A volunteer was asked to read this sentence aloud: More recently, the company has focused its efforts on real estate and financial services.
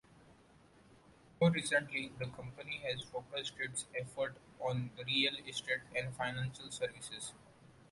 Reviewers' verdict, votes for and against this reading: rejected, 1, 2